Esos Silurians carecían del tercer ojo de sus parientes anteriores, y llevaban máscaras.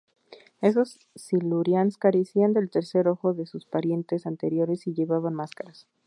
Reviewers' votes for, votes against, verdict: 2, 0, accepted